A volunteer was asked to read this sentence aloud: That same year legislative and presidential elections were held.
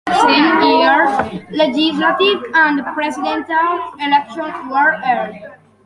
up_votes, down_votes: 0, 2